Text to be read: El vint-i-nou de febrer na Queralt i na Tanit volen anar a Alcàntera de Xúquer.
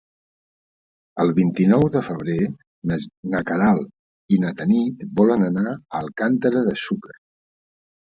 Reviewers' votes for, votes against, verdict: 0, 4, rejected